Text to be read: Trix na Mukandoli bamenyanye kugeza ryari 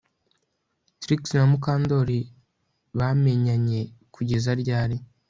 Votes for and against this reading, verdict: 2, 0, accepted